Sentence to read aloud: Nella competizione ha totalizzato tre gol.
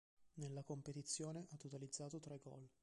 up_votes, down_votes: 2, 1